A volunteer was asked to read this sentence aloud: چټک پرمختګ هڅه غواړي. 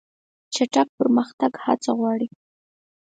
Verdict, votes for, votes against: accepted, 4, 0